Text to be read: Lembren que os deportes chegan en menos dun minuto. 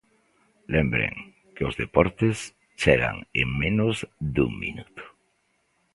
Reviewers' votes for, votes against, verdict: 2, 0, accepted